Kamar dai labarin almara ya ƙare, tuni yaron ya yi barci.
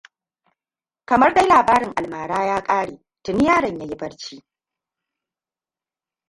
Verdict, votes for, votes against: rejected, 1, 2